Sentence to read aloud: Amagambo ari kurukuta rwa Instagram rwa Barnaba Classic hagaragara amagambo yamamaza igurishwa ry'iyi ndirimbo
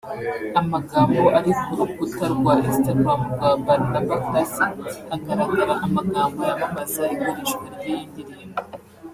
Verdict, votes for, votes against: accepted, 2, 0